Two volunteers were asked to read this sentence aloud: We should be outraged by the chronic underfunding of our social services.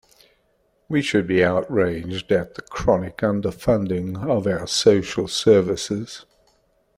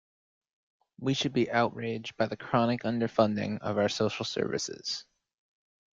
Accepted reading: second